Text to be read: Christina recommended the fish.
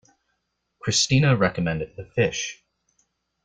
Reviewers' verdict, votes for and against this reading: accepted, 2, 0